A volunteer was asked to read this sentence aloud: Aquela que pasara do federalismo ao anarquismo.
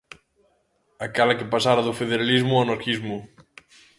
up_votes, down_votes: 2, 0